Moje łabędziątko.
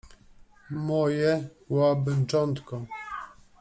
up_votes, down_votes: 0, 2